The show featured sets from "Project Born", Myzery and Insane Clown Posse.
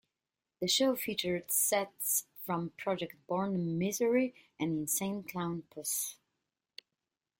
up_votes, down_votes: 2, 1